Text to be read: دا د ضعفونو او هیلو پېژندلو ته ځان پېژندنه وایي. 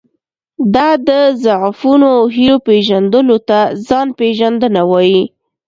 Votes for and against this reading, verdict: 2, 0, accepted